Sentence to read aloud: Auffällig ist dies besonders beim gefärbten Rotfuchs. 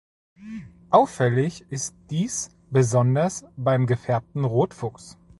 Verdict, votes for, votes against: accepted, 2, 0